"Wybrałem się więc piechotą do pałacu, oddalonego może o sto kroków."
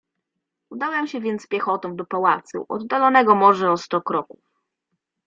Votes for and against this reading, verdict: 1, 2, rejected